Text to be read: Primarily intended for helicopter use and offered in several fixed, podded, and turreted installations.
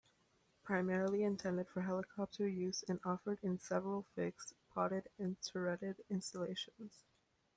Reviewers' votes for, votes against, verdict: 2, 0, accepted